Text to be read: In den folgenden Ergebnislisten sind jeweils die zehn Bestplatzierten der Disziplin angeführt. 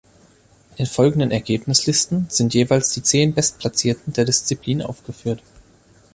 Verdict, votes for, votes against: accepted, 2, 0